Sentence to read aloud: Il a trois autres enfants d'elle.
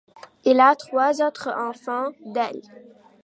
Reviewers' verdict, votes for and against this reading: accepted, 2, 0